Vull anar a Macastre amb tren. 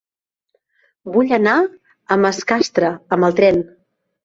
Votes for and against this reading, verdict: 0, 2, rejected